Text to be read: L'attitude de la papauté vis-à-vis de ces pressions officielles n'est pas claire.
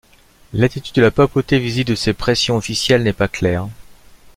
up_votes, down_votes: 1, 2